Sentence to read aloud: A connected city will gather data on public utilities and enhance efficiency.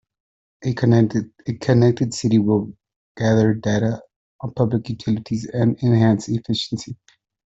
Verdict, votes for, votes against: rejected, 0, 2